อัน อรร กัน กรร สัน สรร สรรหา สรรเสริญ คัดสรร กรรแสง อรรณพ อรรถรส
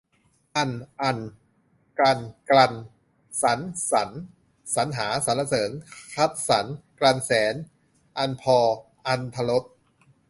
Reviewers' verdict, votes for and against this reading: rejected, 0, 2